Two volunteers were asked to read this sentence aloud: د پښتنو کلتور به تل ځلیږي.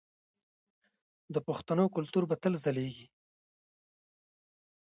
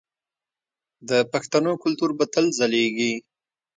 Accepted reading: second